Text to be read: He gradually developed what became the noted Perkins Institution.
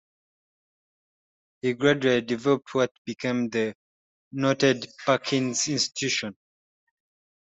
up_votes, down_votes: 0, 2